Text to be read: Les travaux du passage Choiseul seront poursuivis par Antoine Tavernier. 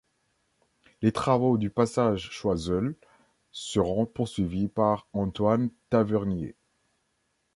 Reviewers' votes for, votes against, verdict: 1, 2, rejected